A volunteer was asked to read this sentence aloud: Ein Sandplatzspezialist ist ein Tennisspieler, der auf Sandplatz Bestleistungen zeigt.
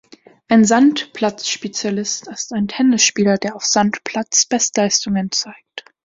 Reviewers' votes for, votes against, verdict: 2, 0, accepted